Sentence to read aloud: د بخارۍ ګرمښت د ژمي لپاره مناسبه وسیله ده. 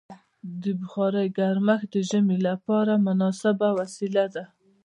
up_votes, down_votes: 2, 0